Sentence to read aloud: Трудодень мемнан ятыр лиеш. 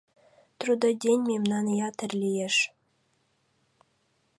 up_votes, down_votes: 2, 0